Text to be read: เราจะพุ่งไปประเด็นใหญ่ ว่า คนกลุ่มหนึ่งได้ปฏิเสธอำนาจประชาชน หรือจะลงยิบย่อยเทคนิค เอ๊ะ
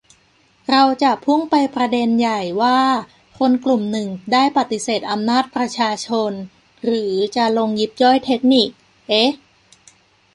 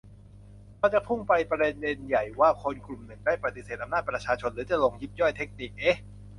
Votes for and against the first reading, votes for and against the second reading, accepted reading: 2, 0, 0, 2, first